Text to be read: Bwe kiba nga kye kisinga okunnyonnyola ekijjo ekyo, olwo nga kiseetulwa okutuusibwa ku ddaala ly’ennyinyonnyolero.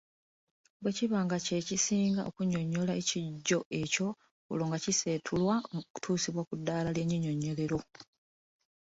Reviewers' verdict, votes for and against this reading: accepted, 2, 1